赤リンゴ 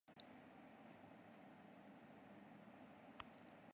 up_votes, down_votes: 0, 2